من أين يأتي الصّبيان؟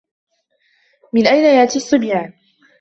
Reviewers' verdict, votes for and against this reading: accepted, 2, 0